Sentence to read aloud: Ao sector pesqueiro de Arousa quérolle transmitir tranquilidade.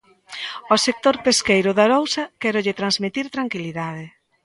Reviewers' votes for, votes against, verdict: 2, 0, accepted